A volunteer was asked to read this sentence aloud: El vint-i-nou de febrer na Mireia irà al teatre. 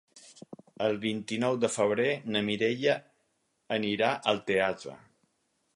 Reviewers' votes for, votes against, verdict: 2, 4, rejected